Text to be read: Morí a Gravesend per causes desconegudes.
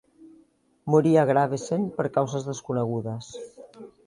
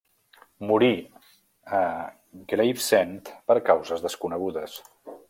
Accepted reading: first